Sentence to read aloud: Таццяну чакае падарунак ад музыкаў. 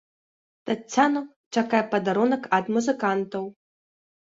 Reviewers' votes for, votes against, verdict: 0, 2, rejected